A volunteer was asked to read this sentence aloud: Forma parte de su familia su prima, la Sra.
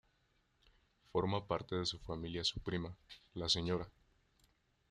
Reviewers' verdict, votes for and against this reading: accepted, 2, 1